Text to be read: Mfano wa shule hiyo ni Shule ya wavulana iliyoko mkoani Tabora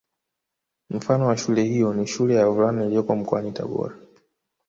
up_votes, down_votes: 3, 1